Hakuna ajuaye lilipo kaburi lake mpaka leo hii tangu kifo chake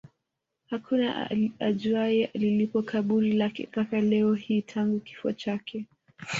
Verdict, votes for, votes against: rejected, 1, 2